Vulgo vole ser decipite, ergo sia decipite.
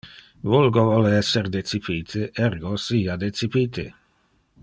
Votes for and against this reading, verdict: 0, 2, rejected